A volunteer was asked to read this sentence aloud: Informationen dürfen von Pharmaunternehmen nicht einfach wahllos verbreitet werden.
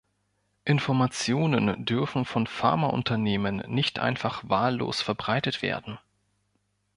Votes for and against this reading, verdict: 2, 0, accepted